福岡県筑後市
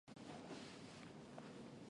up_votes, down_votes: 0, 2